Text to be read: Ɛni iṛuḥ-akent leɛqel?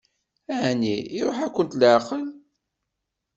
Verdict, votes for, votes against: accepted, 2, 0